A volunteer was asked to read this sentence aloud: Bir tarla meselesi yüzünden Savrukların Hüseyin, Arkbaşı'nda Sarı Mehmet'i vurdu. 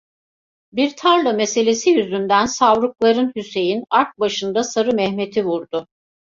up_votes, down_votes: 2, 0